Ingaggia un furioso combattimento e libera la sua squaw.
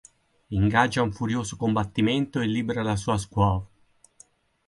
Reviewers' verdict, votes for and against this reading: accepted, 4, 0